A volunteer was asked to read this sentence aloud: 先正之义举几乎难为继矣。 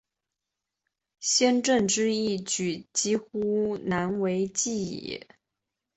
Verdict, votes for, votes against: accepted, 2, 0